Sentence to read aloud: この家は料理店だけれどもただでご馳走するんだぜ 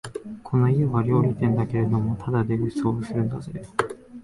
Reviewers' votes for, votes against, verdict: 0, 2, rejected